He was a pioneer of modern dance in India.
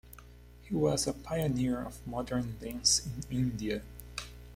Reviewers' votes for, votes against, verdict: 2, 0, accepted